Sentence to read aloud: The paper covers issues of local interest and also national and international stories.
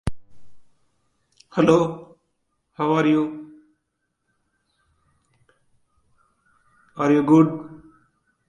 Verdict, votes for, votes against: rejected, 0, 2